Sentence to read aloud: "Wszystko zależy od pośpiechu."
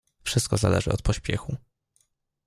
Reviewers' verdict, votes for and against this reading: accepted, 2, 0